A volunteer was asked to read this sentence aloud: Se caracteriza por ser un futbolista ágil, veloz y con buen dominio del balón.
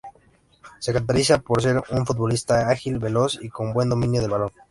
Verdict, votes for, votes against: rejected, 0, 2